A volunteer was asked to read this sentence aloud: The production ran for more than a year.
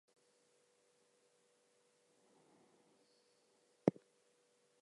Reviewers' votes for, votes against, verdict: 0, 2, rejected